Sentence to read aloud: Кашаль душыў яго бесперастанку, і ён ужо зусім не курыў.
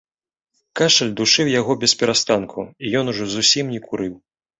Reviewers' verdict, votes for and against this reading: accepted, 2, 0